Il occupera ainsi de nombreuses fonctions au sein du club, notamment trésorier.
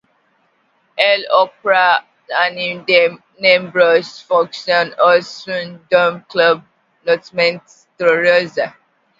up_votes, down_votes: 0, 2